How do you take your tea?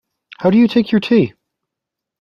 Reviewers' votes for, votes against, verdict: 2, 0, accepted